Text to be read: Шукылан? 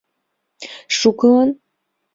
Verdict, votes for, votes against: rejected, 1, 2